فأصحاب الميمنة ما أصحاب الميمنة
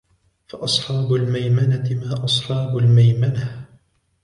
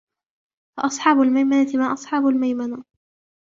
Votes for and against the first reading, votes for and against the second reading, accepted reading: 2, 0, 0, 2, first